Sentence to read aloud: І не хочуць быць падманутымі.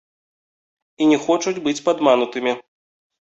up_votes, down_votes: 1, 2